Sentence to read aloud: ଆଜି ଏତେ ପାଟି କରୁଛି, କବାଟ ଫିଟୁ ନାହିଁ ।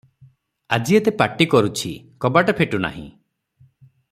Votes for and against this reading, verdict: 3, 3, rejected